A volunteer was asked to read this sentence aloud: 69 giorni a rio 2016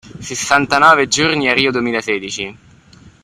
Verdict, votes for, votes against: rejected, 0, 2